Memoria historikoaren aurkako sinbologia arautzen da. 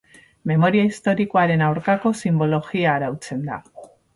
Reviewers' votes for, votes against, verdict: 0, 2, rejected